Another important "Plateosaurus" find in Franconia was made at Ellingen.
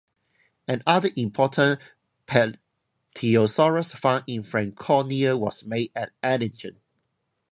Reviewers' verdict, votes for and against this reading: accepted, 2, 0